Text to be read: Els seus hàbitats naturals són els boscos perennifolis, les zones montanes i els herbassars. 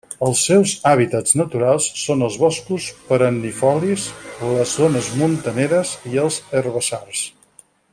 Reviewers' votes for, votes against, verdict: 0, 4, rejected